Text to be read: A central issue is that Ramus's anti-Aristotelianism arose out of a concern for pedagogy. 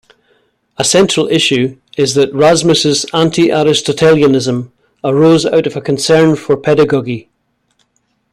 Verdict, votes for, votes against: rejected, 1, 2